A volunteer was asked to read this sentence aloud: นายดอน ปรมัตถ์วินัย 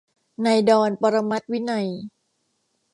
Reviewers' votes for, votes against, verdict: 2, 0, accepted